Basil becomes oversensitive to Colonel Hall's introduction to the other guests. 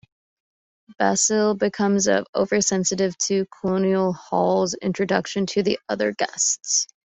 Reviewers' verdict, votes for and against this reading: accepted, 2, 0